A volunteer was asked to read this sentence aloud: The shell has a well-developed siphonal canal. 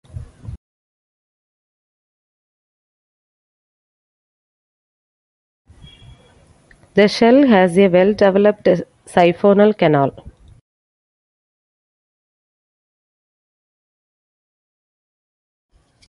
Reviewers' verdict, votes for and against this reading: rejected, 0, 2